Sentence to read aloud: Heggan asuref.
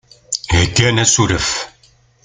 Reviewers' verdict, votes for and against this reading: accepted, 2, 0